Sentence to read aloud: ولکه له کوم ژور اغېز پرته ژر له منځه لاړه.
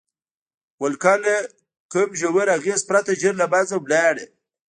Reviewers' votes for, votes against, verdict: 1, 2, rejected